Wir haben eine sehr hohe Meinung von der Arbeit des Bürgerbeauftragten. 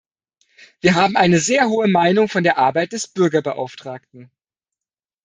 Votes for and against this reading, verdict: 2, 0, accepted